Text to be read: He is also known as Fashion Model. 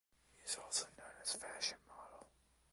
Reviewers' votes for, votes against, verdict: 0, 2, rejected